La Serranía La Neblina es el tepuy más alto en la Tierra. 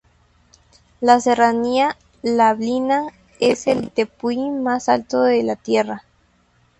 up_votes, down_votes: 0, 2